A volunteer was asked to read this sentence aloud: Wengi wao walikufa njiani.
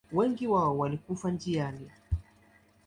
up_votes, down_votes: 2, 0